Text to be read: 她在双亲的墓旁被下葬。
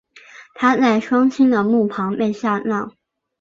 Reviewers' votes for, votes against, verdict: 4, 1, accepted